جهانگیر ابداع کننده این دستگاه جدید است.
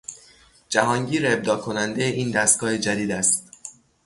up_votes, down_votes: 0, 3